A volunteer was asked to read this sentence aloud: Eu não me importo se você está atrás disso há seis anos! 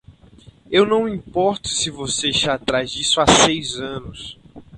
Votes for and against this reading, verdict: 2, 2, rejected